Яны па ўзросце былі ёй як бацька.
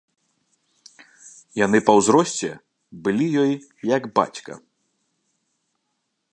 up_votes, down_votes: 2, 0